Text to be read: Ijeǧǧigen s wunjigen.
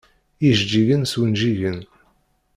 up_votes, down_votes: 2, 0